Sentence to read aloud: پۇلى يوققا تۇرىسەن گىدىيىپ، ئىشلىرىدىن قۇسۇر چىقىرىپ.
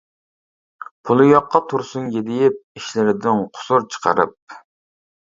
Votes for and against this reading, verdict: 0, 2, rejected